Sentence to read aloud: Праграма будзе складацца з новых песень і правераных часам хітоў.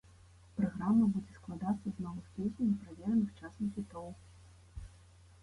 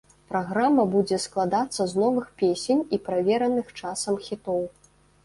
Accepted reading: second